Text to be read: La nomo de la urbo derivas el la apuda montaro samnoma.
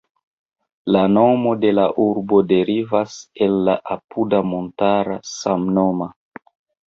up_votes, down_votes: 1, 2